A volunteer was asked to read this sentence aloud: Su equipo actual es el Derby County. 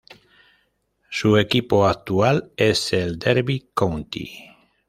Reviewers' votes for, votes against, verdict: 2, 0, accepted